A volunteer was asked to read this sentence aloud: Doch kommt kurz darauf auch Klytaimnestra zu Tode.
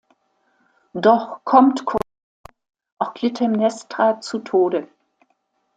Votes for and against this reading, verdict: 1, 2, rejected